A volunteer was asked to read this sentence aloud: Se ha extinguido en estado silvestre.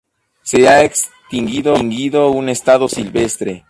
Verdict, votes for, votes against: rejected, 0, 4